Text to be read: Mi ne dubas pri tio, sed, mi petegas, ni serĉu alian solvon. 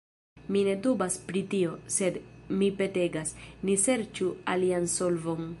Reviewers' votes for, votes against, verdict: 2, 1, accepted